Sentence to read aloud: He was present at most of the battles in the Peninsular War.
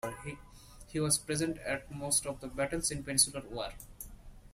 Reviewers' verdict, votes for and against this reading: rejected, 1, 2